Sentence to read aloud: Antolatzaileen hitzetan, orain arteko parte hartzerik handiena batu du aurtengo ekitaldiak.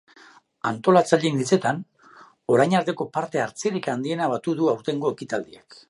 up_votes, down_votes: 2, 0